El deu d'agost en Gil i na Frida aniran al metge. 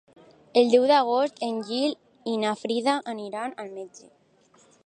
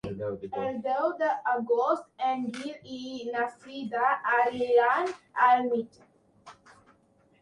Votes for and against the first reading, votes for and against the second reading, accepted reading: 2, 0, 1, 2, first